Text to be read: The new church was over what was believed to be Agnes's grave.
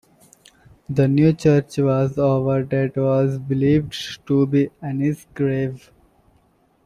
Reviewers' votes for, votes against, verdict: 0, 2, rejected